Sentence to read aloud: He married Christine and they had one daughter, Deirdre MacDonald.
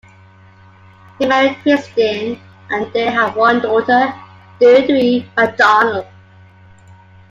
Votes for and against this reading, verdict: 2, 0, accepted